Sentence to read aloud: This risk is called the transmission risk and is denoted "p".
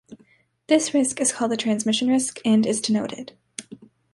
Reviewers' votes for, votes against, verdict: 0, 2, rejected